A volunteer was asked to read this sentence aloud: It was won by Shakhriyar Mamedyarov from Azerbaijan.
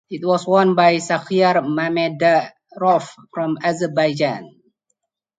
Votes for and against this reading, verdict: 4, 2, accepted